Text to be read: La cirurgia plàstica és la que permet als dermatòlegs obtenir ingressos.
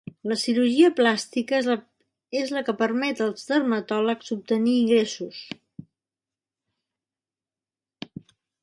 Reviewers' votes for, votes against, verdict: 1, 2, rejected